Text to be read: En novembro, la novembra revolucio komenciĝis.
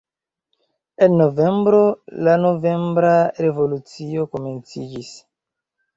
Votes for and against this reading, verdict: 1, 2, rejected